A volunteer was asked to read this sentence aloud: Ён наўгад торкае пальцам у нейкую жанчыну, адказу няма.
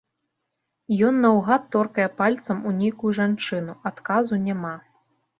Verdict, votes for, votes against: accepted, 3, 0